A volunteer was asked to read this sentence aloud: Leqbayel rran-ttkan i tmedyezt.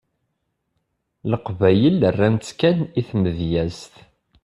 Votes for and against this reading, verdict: 2, 0, accepted